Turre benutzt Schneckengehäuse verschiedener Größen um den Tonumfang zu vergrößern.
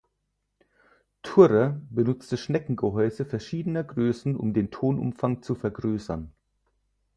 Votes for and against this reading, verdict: 0, 4, rejected